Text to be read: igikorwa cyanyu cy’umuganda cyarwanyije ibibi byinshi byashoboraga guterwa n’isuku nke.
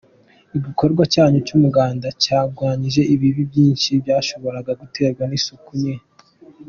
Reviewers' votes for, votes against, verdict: 3, 0, accepted